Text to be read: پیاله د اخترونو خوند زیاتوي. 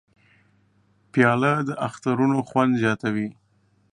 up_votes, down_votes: 2, 0